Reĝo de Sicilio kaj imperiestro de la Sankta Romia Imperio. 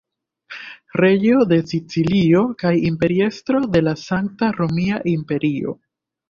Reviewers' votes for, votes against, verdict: 1, 2, rejected